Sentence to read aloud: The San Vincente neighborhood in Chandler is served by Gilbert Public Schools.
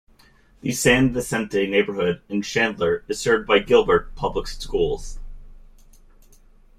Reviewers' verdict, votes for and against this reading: rejected, 1, 2